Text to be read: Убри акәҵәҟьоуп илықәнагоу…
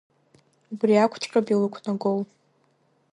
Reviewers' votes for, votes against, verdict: 0, 2, rejected